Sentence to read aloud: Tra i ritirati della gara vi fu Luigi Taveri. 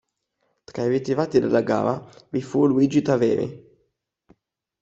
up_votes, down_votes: 2, 0